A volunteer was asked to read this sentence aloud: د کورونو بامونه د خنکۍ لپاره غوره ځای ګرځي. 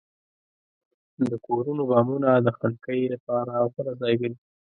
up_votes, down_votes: 2, 0